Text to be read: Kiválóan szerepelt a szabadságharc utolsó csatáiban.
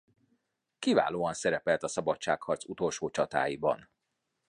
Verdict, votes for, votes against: accepted, 2, 0